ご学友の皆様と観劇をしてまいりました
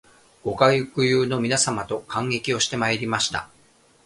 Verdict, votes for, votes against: rejected, 0, 2